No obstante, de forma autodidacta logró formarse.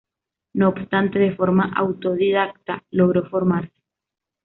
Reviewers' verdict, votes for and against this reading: accepted, 2, 0